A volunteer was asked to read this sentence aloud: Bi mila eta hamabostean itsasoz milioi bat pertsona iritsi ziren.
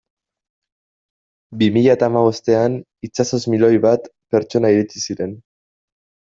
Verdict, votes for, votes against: rejected, 1, 2